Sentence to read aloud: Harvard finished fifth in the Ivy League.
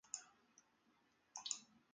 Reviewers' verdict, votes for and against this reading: rejected, 0, 2